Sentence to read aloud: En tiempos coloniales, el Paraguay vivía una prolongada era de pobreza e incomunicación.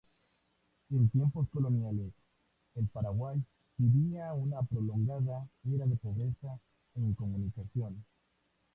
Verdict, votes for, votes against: accepted, 2, 0